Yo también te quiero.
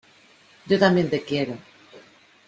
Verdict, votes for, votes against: accepted, 2, 0